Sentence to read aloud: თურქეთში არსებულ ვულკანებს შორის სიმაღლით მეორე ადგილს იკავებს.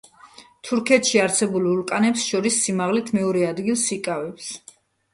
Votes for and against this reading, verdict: 1, 2, rejected